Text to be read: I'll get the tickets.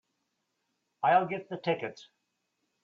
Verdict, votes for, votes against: accepted, 2, 0